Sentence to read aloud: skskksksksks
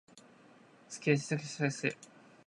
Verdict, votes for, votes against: rejected, 0, 2